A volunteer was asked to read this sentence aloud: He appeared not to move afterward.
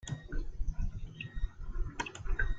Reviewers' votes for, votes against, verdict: 0, 2, rejected